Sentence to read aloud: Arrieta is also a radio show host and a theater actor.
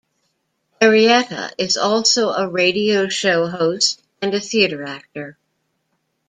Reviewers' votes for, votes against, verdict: 2, 1, accepted